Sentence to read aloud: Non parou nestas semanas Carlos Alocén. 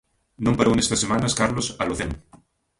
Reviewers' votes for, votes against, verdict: 0, 2, rejected